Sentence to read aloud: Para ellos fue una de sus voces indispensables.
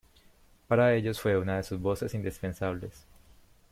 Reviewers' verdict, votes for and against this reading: accepted, 2, 0